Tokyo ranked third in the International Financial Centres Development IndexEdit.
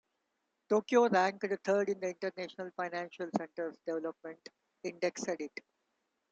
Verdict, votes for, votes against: rejected, 1, 2